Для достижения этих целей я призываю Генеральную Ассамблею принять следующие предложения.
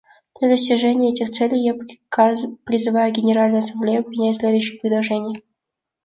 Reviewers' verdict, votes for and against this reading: rejected, 1, 2